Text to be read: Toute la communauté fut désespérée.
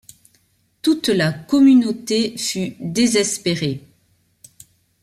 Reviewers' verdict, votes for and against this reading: accepted, 2, 0